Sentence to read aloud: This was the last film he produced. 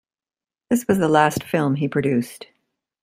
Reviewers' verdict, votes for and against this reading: accepted, 2, 0